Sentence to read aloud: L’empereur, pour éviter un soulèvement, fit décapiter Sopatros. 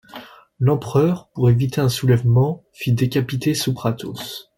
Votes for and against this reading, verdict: 1, 2, rejected